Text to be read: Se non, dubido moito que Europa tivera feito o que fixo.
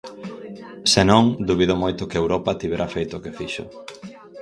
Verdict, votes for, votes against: rejected, 2, 2